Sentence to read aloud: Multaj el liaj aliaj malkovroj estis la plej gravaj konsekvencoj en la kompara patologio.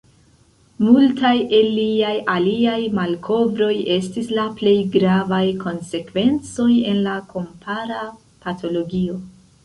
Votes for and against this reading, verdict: 1, 2, rejected